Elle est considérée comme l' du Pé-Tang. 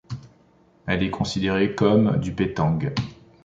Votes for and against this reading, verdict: 1, 2, rejected